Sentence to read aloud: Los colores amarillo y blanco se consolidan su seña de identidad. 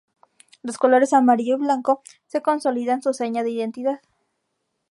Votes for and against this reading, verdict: 2, 0, accepted